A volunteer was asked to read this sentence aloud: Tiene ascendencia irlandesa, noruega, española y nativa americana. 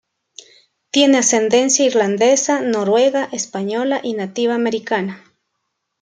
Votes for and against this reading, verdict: 2, 0, accepted